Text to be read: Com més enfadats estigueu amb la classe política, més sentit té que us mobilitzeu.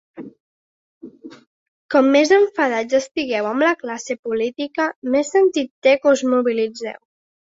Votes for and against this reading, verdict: 2, 0, accepted